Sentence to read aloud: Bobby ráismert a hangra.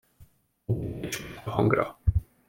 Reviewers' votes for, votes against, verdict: 0, 2, rejected